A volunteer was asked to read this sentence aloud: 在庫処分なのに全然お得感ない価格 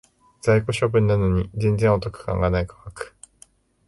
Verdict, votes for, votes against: rejected, 0, 2